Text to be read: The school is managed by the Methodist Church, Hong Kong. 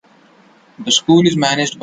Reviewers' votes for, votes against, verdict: 0, 2, rejected